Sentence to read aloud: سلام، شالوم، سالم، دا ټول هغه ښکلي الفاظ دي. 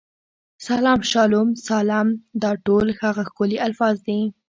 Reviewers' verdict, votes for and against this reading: accepted, 2, 1